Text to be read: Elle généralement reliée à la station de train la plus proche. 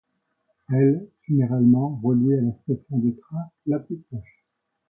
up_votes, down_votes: 2, 0